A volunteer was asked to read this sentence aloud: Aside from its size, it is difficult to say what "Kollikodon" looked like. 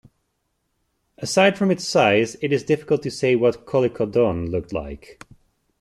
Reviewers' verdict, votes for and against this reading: accepted, 2, 0